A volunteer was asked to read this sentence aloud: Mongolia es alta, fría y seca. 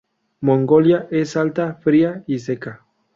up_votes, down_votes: 2, 0